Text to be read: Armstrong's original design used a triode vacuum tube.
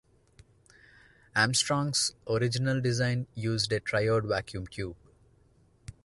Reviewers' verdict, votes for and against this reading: accepted, 2, 0